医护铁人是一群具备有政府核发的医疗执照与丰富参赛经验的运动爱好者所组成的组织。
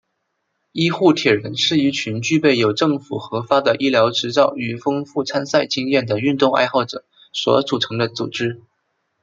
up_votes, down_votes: 2, 1